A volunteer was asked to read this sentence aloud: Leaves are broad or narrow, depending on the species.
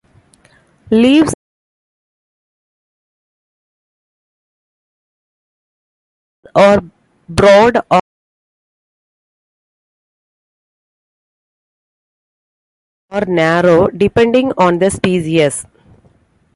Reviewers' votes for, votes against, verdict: 0, 2, rejected